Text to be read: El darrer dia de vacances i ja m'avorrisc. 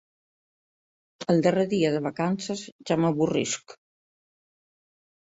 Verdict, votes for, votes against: accepted, 3, 1